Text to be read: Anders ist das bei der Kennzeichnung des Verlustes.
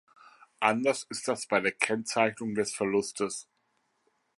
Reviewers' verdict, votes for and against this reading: accepted, 2, 0